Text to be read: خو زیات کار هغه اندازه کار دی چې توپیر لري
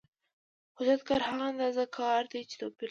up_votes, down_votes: 0, 2